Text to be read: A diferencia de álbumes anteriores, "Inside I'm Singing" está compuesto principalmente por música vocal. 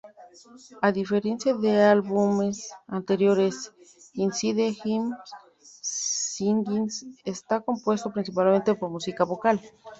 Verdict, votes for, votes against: rejected, 0, 2